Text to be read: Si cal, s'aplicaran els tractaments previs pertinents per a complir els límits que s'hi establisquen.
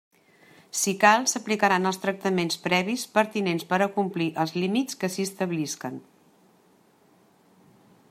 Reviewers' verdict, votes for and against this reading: accepted, 2, 0